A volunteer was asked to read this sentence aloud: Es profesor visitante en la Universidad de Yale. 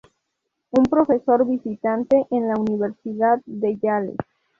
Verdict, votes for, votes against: rejected, 0, 2